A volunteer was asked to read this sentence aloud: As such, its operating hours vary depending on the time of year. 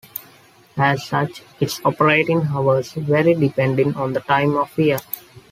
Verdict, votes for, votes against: accepted, 2, 0